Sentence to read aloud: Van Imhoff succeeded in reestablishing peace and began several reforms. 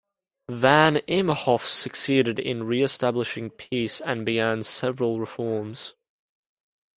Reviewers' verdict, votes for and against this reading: accepted, 2, 0